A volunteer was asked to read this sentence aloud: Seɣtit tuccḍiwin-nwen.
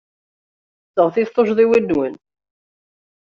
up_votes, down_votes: 2, 0